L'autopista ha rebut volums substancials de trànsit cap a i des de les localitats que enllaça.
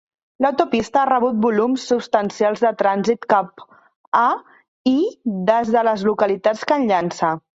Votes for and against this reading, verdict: 0, 3, rejected